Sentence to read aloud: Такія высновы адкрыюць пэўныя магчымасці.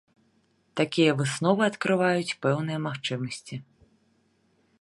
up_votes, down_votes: 0, 2